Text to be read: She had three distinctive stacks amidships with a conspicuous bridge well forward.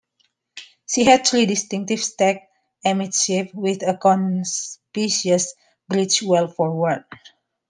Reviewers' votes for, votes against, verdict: 1, 2, rejected